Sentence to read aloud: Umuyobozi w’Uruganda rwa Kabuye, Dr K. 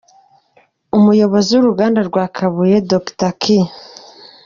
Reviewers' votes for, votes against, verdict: 2, 0, accepted